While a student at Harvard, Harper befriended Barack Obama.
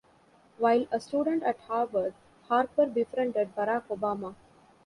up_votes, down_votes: 2, 0